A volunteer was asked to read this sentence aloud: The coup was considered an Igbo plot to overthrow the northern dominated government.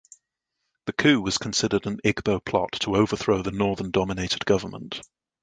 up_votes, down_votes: 2, 0